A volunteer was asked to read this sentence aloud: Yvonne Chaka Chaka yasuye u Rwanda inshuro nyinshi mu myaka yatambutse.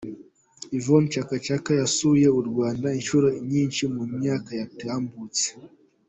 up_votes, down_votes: 2, 0